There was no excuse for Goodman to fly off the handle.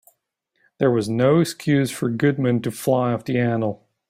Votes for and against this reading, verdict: 1, 2, rejected